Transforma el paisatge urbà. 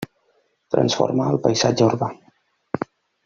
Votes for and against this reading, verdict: 1, 2, rejected